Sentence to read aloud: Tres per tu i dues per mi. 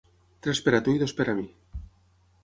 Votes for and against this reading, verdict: 0, 6, rejected